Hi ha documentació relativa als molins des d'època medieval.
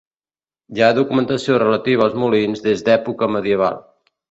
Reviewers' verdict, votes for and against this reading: accepted, 2, 0